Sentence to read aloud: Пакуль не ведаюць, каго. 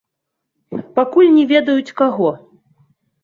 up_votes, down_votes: 2, 0